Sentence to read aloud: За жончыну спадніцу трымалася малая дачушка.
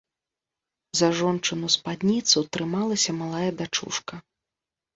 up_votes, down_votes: 2, 0